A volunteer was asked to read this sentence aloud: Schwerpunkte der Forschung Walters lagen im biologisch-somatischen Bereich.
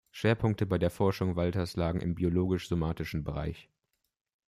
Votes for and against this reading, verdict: 0, 2, rejected